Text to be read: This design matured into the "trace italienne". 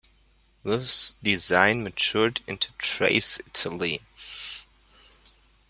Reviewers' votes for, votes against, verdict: 2, 1, accepted